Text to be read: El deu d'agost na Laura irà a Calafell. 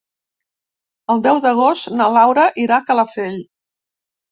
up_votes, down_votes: 2, 0